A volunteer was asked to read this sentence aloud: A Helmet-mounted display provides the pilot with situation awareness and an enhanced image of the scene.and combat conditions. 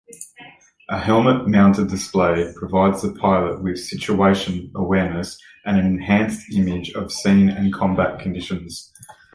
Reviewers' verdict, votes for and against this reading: rejected, 0, 2